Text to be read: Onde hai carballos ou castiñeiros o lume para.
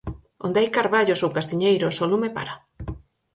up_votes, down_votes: 4, 0